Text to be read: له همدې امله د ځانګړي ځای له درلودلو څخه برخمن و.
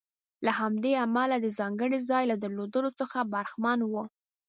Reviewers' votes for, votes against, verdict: 2, 0, accepted